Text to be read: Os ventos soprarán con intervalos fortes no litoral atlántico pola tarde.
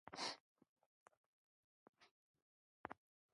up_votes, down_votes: 0, 2